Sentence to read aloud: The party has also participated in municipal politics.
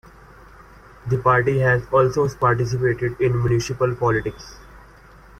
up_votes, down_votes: 2, 0